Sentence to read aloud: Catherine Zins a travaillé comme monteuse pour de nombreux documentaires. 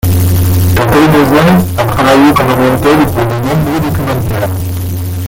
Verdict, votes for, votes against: rejected, 0, 2